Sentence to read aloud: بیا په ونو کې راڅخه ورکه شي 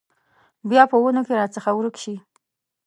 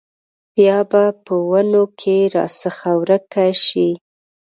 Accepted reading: second